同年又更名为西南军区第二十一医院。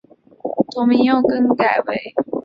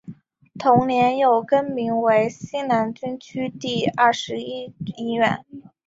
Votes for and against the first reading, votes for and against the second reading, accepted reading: 1, 2, 3, 0, second